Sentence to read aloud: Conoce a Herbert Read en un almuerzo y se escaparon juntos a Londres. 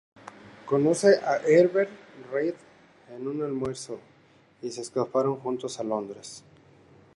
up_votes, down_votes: 2, 0